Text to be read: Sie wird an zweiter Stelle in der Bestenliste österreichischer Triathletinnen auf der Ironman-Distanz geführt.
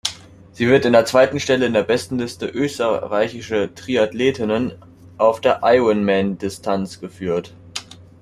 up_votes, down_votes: 0, 2